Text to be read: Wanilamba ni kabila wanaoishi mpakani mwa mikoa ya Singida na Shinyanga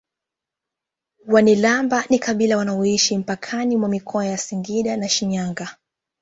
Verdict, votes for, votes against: accepted, 2, 0